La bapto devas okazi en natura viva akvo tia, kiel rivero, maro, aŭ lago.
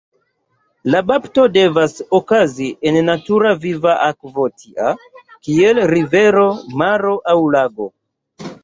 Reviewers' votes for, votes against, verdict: 2, 0, accepted